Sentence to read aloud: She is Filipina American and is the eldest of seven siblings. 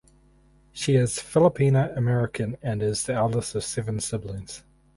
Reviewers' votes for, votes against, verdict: 2, 2, rejected